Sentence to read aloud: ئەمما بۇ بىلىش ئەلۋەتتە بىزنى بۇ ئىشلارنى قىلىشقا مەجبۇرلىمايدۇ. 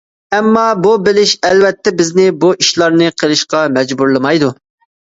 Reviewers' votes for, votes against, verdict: 2, 0, accepted